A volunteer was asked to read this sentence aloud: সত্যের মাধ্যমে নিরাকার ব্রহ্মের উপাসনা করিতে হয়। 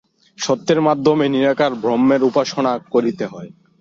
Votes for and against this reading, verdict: 4, 0, accepted